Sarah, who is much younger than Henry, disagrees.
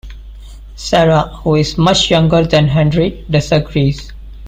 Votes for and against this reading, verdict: 2, 0, accepted